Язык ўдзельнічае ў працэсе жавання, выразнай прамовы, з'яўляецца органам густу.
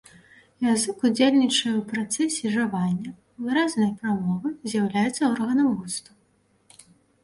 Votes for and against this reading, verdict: 3, 0, accepted